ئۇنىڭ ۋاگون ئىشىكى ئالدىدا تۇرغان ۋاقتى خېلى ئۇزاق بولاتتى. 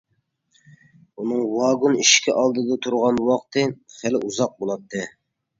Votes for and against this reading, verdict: 2, 0, accepted